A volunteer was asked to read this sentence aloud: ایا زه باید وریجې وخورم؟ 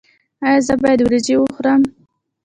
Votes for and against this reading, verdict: 1, 2, rejected